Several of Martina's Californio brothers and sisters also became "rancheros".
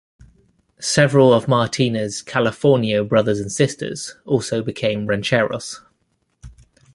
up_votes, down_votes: 2, 0